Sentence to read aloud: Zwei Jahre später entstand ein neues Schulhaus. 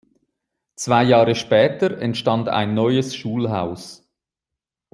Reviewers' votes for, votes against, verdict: 2, 0, accepted